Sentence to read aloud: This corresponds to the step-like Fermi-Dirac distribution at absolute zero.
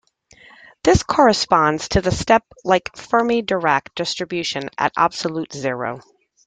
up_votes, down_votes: 2, 0